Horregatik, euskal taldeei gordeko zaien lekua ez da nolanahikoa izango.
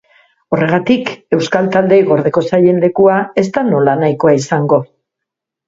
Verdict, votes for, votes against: accepted, 2, 0